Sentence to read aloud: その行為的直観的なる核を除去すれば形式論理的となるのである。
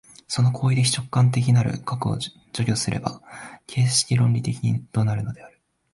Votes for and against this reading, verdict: 1, 2, rejected